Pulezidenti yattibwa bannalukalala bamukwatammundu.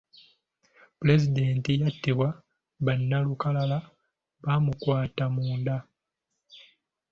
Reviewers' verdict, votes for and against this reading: rejected, 1, 2